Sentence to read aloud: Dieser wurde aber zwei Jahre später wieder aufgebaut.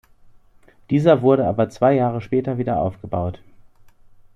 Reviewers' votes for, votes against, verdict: 2, 0, accepted